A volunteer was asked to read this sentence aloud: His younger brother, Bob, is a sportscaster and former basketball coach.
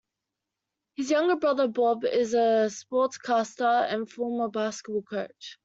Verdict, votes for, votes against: accepted, 2, 0